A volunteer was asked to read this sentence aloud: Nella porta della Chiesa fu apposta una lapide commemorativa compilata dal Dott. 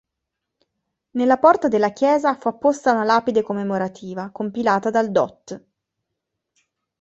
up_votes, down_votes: 2, 0